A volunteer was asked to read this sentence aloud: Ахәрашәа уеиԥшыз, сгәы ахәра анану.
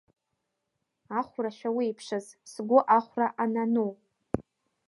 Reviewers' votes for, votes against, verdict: 1, 2, rejected